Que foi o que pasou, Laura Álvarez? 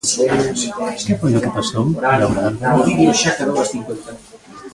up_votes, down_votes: 0, 2